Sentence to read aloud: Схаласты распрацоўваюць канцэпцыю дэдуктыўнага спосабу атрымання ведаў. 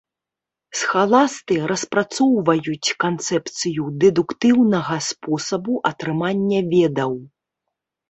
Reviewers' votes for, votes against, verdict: 3, 0, accepted